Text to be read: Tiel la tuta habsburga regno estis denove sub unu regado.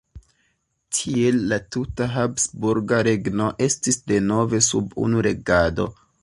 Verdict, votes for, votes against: accepted, 2, 0